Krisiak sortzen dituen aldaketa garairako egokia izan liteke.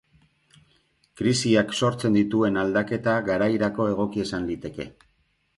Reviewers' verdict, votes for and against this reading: accepted, 2, 0